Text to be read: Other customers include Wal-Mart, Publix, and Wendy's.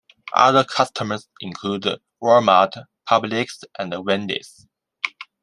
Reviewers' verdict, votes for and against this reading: accepted, 2, 1